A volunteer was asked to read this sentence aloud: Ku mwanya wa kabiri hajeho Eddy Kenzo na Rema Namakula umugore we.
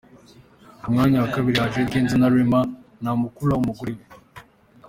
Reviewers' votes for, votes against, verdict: 2, 0, accepted